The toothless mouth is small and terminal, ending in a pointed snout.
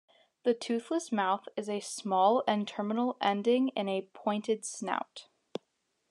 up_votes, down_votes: 1, 2